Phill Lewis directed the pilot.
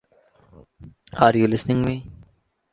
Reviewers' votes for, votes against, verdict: 0, 2, rejected